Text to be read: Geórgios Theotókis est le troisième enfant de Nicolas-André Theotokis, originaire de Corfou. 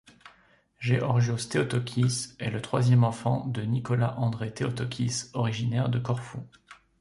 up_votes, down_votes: 1, 2